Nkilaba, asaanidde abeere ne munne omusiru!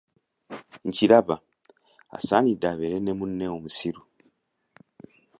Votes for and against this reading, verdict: 2, 0, accepted